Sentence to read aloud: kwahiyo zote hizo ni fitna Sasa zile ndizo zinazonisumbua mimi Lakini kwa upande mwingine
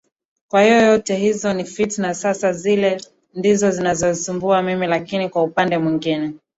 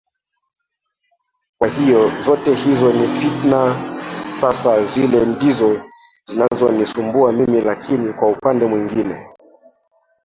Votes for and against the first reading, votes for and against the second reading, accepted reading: 4, 2, 0, 2, first